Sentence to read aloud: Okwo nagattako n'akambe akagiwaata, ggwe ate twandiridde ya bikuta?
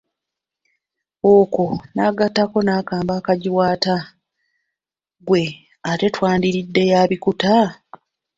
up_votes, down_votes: 2, 0